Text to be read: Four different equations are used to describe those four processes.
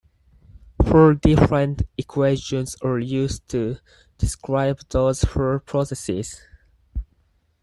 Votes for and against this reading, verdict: 4, 0, accepted